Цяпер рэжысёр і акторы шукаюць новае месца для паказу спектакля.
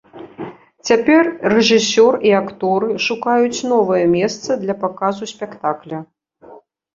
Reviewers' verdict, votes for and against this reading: rejected, 0, 2